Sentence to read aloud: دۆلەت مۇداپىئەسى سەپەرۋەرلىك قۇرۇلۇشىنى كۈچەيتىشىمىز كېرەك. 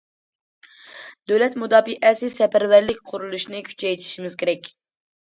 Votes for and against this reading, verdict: 2, 0, accepted